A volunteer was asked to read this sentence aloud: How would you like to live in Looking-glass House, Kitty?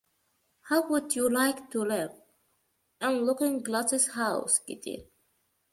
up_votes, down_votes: 1, 2